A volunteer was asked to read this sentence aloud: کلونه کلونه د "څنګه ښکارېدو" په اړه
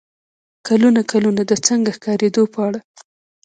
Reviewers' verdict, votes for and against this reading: rejected, 0, 2